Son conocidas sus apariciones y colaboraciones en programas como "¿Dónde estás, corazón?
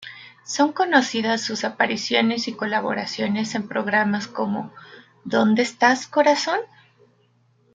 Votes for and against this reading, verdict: 2, 0, accepted